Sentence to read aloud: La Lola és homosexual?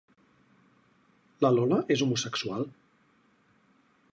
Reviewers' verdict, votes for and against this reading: accepted, 4, 0